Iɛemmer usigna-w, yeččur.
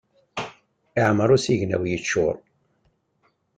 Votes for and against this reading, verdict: 2, 0, accepted